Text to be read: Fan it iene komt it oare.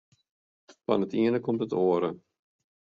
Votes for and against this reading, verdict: 2, 0, accepted